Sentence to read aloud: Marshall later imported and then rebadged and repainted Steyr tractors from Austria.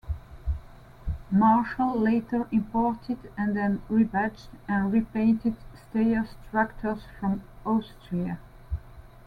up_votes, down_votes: 1, 2